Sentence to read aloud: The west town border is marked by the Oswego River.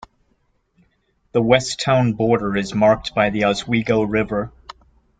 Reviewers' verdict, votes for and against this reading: accepted, 2, 0